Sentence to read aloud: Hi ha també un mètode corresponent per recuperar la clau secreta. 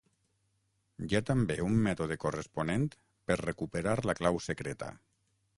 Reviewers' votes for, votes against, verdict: 6, 3, accepted